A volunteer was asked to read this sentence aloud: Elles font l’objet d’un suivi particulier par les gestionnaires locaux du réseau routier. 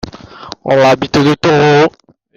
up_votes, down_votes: 1, 2